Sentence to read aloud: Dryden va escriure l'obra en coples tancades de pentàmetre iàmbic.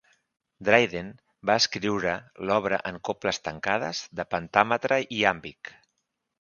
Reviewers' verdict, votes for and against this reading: accepted, 2, 0